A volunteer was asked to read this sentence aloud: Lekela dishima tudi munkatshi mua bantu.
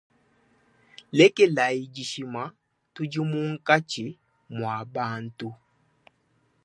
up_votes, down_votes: 2, 0